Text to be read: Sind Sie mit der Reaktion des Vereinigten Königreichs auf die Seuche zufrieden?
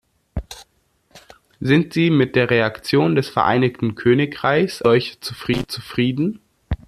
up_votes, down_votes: 0, 2